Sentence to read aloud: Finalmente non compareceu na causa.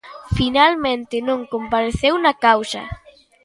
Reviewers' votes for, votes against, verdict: 2, 0, accepted